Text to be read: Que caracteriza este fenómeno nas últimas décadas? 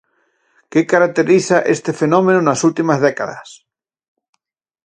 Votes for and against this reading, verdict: 4, 0, accepted